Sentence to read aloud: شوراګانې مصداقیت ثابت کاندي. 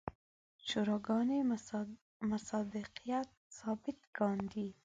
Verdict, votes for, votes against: accepted, 2, 1